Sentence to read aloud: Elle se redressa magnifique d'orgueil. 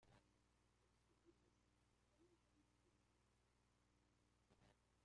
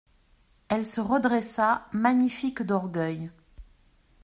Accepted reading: second